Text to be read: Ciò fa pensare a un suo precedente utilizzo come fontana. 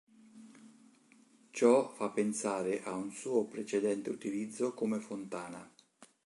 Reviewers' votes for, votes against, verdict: 2, 0, accepted